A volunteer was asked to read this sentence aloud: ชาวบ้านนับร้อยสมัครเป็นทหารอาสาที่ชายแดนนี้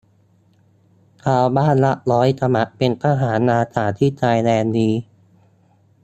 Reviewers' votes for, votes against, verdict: 0, 2, rejected